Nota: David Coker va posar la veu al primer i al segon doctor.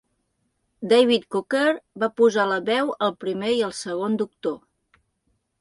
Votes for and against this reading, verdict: 0, 2, rejected